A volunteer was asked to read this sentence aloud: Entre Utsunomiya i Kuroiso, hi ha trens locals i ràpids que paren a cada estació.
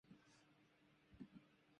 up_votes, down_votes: 0, 3